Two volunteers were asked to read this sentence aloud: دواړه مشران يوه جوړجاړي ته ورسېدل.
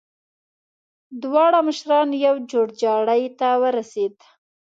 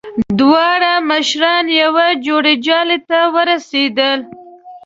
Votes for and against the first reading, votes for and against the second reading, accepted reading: 1, 2, 2, 0, second